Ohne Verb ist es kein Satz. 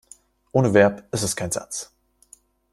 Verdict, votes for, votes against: rejected, 1, 2